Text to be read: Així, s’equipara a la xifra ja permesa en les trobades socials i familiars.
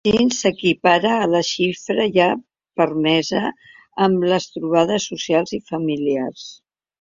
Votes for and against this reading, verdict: 1, 2, rejected